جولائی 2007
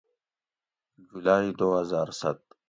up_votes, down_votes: 0, 2